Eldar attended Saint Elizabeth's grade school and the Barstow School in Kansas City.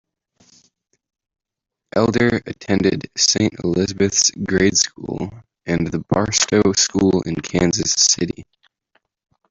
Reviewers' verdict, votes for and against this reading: rejected, 1, 2